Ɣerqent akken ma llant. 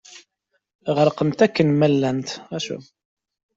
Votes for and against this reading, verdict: 1, 2, rejected